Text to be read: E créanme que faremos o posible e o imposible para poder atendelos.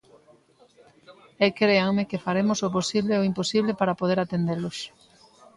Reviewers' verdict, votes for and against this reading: accepted, 2, 1